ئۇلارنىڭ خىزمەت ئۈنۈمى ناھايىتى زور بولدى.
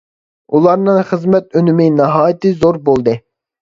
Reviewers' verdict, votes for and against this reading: accepted, 2, 0